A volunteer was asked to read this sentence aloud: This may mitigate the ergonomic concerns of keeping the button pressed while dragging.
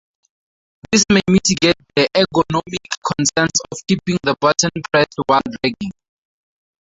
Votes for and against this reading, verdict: 0, 2, rejected